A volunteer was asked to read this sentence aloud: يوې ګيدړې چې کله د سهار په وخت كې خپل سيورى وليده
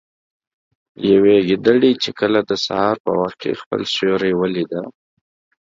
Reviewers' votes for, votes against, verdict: 2, 0, accepted